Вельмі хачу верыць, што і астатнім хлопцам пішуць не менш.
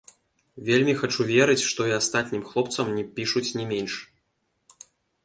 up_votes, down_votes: 1, 2